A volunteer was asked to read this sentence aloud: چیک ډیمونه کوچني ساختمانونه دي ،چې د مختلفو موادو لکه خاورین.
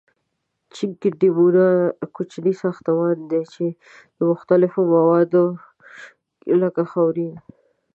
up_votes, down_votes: 0, 2